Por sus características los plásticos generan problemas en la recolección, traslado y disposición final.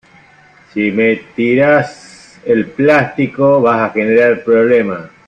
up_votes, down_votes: 0, 3